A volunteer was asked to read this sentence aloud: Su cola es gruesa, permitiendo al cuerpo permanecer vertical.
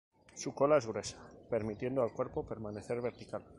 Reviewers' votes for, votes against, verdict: 2, 0, accepted